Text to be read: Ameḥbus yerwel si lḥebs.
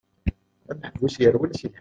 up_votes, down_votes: 1, 2